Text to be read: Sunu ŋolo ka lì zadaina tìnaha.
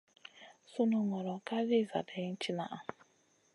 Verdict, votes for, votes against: accepted, 2, 0